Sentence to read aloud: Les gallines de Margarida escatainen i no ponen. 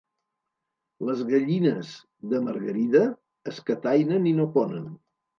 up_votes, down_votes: 3, 0